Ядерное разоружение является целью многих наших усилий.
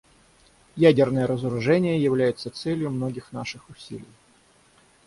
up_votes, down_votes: 6, 0